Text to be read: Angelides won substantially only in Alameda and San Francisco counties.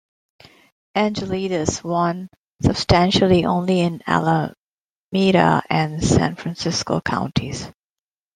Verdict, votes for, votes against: rejected, 0, 2